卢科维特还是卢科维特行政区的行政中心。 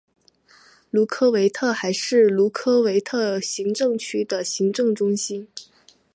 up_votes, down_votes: 4, 0